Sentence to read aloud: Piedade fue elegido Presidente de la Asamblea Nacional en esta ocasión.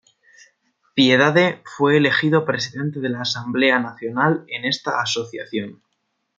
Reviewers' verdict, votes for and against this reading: rejected, 1, 2